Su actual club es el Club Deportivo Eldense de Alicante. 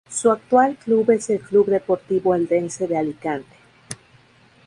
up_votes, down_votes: 0, 2